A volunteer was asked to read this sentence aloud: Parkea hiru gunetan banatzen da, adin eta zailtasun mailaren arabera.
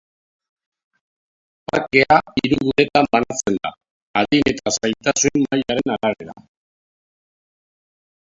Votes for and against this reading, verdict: 0, 2, rejected